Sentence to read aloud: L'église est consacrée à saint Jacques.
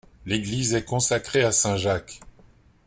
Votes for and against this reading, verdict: 2, 0, accepted